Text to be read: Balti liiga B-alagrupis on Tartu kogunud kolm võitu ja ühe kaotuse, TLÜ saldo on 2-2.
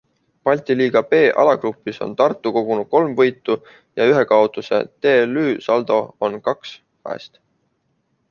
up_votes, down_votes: 0, 2